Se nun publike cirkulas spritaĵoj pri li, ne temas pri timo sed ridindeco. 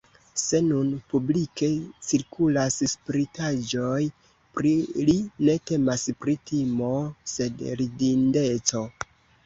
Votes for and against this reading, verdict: 1, 2, rejected